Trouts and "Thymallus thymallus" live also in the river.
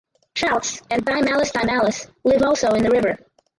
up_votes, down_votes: 0, 4